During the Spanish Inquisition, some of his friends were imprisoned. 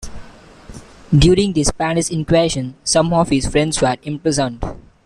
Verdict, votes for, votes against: rejected, 0, 2